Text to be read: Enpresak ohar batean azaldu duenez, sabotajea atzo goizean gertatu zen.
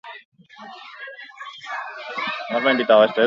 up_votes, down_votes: 0, 2